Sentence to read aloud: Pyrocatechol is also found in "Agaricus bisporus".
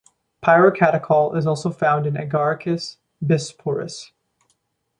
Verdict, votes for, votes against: accepted, 2, 0